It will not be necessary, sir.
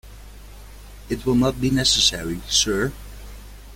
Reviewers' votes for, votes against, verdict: 2, 0, accepted